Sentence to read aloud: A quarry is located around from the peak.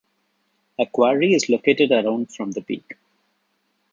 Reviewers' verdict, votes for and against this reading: accepted, 2, 1